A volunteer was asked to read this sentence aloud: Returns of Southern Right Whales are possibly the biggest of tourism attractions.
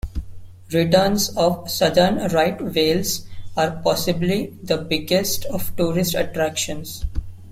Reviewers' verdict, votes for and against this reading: rejected, 0, 2